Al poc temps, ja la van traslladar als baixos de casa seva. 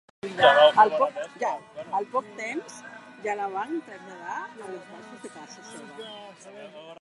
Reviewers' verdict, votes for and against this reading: rejected, 0, 3